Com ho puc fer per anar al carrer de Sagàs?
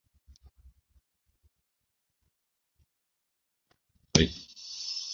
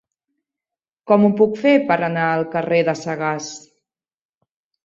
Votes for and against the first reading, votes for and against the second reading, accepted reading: 0, 2, 3, 0, second